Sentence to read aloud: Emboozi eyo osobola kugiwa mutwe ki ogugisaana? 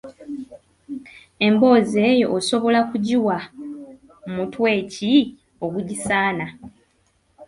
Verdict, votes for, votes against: accepted, 2, 0